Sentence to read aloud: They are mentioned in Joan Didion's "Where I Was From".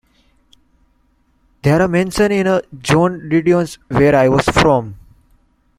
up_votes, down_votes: 0, 2